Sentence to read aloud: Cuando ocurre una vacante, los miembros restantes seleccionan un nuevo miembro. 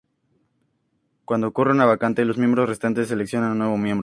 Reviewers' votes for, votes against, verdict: 2, 0, accepted